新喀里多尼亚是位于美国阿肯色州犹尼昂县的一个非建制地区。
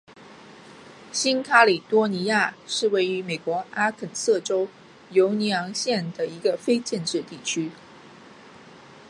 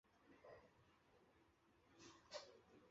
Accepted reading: first